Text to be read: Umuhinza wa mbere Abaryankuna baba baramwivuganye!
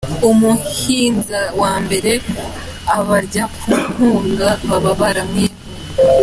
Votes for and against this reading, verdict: 1, 2, rejected